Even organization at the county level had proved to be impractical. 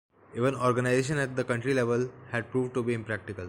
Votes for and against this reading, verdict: 2, 1, accepted